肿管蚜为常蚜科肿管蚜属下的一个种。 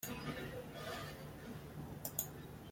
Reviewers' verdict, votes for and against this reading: rejected, 0, 2